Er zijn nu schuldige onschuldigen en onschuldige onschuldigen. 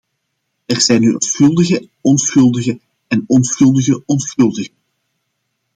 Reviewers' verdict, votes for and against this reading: rejected, 0, 2